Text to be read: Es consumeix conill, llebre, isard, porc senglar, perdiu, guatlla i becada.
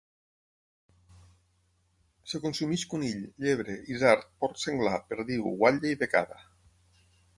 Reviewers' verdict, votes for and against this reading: rejected, 0, 6